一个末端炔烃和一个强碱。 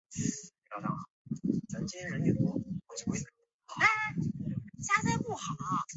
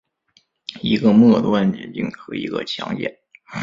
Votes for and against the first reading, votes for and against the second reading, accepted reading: 0, 3, 3, 1, second